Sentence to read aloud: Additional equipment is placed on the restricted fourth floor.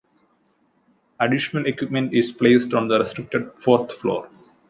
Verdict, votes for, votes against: accepted, 2, 0